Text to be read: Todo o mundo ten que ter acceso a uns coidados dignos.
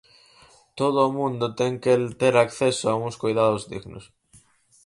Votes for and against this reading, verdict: 2, 4, rejected